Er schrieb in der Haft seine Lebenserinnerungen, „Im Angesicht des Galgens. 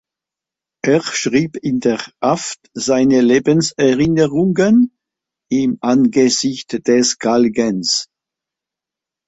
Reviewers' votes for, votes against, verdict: 3, 0, accepted